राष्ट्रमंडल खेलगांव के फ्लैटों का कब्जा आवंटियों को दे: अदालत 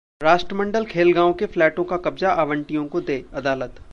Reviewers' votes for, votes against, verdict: 2, 0, accepted